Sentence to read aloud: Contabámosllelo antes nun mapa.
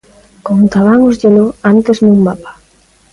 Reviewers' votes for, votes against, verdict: 1, 2, rejected